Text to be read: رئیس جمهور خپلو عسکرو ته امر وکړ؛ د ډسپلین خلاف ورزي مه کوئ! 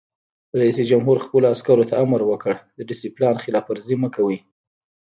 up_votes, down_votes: 1, 2